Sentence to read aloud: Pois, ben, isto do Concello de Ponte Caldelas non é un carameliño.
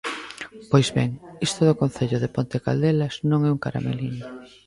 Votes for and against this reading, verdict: 1, 2, rejected